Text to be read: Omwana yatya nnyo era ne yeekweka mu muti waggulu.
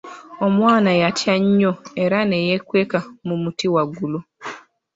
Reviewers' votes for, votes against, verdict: 2, 0, accepted